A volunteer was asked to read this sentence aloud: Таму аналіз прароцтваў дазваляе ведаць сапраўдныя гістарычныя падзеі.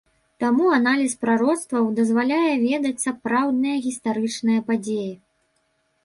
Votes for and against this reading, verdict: 2, 0, accepted